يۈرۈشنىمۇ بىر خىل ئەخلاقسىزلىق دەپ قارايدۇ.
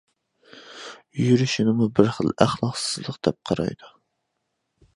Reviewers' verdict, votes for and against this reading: accepted, 2, 0